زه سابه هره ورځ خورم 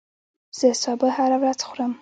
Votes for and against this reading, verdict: 0, 2, rejected